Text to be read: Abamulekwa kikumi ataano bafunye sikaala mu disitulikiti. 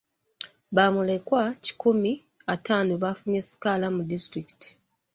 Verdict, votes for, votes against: rejected, 1, 2